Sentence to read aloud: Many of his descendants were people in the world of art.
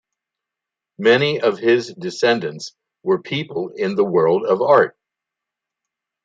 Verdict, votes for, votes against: accepted, 2, 0